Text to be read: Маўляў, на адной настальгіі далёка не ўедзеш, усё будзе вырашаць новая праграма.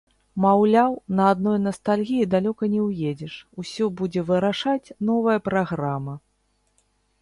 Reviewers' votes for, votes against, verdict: 1, 2, rejected